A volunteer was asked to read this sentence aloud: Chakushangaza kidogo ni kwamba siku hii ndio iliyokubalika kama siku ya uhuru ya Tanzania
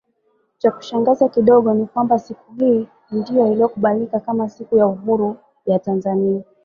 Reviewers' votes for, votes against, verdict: 2, 1, accepted